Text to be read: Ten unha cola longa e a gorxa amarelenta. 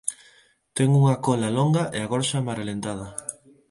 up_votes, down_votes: 0, 4